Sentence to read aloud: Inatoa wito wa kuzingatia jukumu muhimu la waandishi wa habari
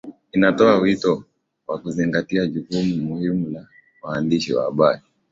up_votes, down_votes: 16, 0